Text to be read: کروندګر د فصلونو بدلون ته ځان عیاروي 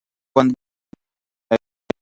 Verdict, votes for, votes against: rejected, 0, 3